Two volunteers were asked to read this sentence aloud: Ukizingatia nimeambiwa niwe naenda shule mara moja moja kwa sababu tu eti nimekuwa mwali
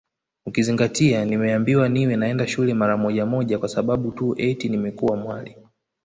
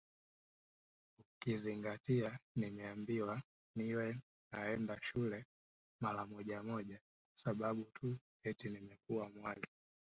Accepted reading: first